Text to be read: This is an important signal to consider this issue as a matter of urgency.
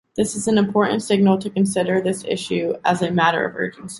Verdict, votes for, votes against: accepted, 2, 0